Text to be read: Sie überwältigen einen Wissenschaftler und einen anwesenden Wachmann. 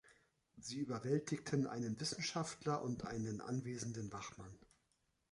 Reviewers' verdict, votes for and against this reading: rejected, 1, 2